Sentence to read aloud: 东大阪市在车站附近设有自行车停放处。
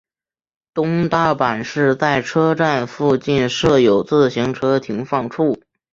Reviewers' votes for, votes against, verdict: 2, 0, accepted